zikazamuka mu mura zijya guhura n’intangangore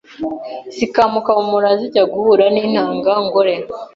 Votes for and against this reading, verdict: 0, 2, rejected